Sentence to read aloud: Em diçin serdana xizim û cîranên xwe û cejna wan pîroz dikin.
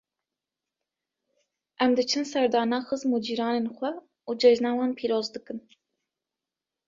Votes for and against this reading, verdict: 2, 0, accepted